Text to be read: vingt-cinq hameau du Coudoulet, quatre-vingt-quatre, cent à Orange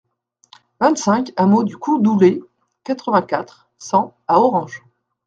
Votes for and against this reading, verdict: 2, 1, accepted